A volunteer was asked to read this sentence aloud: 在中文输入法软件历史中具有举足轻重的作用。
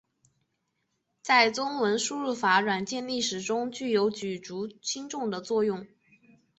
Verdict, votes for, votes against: accepted, 3, 1